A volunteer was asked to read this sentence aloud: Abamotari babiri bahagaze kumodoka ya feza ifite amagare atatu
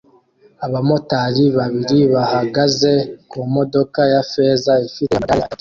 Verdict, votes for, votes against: rejected, 1, 2